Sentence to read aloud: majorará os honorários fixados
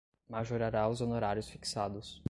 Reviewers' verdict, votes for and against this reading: accepted, 2, 0